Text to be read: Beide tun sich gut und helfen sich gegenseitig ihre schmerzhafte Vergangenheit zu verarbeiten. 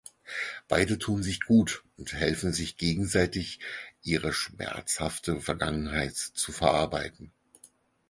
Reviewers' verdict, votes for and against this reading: accepted, 4, 0